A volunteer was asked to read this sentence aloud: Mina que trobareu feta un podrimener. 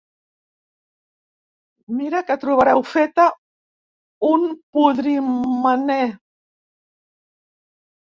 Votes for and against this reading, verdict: 1, 2, rejected